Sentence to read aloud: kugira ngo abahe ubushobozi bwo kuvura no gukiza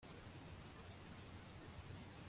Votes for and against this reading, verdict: 1, 2, rejected